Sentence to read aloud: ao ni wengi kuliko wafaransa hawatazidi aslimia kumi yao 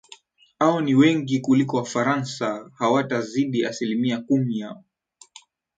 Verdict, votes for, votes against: rejected, 2, 4